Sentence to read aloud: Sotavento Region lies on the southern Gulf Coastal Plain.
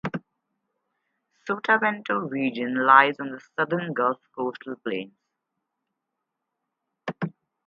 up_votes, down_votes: 4, 0